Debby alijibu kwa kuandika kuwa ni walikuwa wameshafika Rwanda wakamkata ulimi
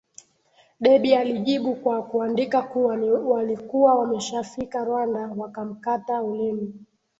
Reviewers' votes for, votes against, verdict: 1, 2, rejected